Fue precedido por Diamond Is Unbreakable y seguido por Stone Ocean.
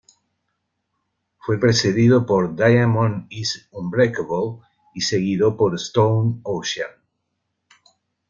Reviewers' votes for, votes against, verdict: 1, 2, rejected